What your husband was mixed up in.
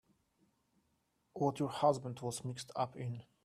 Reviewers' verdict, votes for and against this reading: rejected, 1, 2